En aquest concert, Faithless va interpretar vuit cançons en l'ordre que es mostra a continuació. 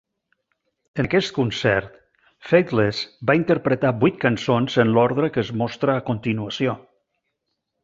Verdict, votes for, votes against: rejected, 0, 2